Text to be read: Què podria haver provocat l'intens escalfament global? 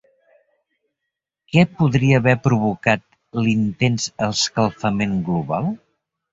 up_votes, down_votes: 3, 0